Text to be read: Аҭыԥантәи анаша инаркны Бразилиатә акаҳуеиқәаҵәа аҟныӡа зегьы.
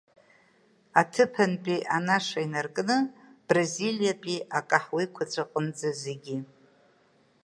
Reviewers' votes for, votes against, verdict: 1, 2, rejected